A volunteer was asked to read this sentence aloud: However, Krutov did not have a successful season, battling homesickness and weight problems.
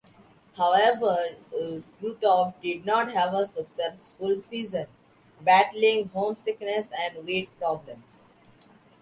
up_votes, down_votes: 2, 0